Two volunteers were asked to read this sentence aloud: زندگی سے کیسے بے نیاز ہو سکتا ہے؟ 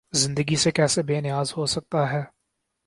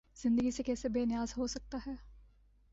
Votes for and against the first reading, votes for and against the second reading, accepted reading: 4, 0, 0, 2, first